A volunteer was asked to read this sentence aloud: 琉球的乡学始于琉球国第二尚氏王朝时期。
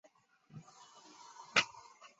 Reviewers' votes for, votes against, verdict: 1, 2, rejected